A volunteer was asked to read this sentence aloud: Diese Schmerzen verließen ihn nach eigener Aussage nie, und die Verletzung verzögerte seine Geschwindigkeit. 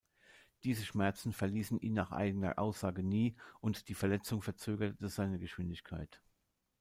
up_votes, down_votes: 1, 2